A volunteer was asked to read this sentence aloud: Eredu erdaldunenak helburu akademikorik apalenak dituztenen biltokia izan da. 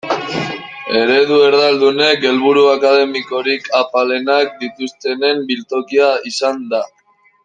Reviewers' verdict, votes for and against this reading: rejected, 0, 2